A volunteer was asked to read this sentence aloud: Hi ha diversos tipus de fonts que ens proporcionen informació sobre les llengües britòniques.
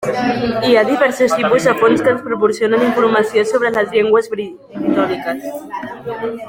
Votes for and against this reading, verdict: 1, 2, rejected